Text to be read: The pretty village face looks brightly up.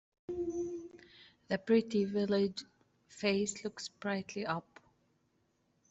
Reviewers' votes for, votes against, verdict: 2, 0, accepted